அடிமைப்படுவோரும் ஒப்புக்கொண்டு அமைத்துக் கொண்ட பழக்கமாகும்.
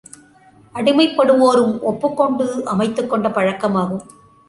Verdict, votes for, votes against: accepted, 2, 0